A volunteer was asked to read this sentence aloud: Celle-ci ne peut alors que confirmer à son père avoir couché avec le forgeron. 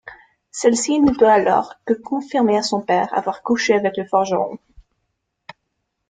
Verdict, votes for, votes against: accepted, 2, 0